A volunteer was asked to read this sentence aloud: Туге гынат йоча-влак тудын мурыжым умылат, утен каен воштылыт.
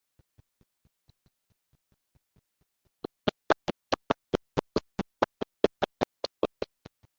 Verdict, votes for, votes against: rejected, 0, 2